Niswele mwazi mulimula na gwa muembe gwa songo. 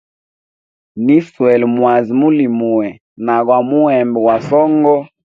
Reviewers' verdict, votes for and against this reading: accepted, 2, 0